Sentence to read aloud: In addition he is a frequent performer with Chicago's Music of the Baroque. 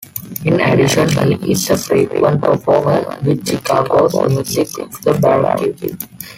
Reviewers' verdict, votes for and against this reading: rejected, 1, 2